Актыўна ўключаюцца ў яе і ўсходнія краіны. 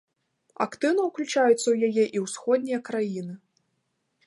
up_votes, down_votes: 2, 0